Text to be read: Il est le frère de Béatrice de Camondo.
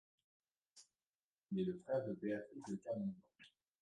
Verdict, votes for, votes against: rejected, 0, 2